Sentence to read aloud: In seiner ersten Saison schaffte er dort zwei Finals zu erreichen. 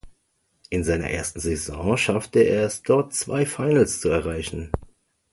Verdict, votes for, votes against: rejected, 0, 2